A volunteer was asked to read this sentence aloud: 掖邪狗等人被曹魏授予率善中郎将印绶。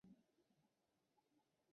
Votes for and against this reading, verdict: 0, 5, rejected